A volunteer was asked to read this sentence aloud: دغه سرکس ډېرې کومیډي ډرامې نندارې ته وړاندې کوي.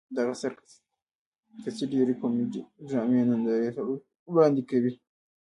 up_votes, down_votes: 0, 2